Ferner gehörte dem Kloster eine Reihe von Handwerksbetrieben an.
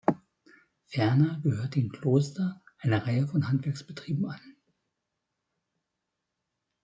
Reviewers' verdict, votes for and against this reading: accepted, 3, 1